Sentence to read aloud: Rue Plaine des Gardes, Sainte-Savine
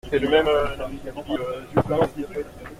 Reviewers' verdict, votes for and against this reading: rejected, 0, 2